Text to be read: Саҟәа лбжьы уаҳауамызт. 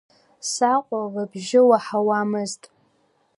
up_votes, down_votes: 2, 0